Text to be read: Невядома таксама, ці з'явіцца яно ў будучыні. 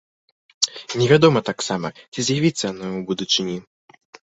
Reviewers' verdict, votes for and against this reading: rejected, 0, 2